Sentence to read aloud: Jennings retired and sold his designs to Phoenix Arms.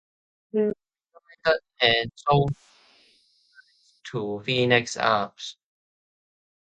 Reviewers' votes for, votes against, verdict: 0, 2, rejected